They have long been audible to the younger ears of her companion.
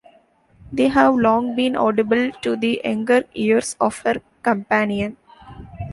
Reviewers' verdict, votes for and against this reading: accepted, 2, 0